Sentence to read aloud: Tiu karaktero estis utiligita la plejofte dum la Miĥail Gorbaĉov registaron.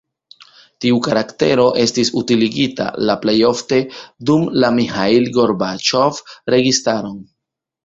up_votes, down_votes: 2, 0